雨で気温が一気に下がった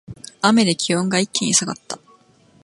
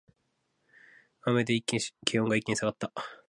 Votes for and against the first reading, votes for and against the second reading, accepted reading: 2, 0, 1, 2, first